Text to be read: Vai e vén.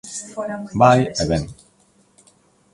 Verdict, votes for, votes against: rejected, 1, 2